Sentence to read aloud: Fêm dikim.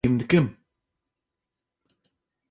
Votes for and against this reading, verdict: 1, 3, rejected